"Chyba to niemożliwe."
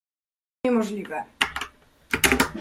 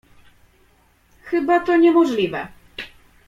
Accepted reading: second